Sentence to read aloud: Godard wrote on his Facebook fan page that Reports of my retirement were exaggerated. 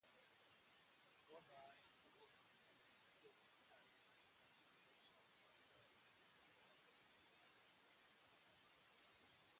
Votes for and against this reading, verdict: 0, 2, rejected